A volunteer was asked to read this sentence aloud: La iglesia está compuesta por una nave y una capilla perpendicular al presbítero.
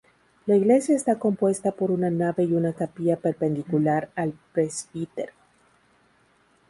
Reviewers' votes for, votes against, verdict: 2, 2, rejected